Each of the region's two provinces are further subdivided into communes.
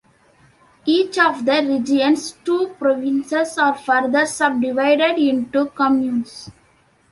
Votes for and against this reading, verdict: 2, 1, accepted